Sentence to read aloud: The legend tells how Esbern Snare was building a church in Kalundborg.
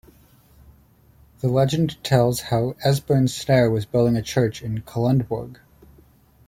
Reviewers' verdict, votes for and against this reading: rejected, 1, 2